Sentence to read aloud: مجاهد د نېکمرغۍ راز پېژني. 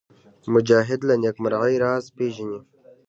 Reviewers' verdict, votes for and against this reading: rejected, 1, 2